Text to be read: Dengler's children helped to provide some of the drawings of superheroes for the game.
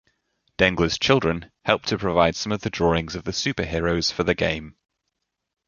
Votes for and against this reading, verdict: 1, 2, rejected